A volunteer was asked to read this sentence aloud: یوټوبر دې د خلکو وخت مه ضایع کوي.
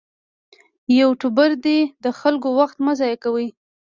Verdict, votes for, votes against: accepted, 2, 0